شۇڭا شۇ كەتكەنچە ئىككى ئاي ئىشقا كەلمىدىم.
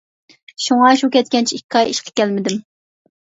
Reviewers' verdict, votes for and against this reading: accepted, 2, 0